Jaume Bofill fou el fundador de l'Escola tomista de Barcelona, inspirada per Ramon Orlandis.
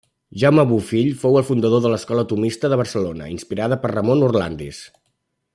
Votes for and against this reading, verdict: 2, 0, accepted